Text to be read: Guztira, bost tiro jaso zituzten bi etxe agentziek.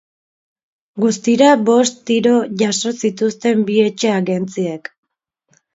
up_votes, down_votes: 2, 0